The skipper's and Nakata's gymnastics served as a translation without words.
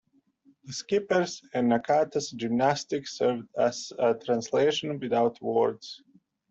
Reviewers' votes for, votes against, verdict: 2, 1, accepted